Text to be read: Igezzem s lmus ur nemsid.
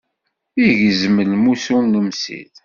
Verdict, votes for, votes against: rejected, 1, 2